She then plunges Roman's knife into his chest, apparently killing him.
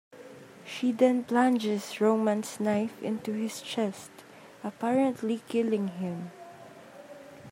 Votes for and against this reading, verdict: 2, 0, accepted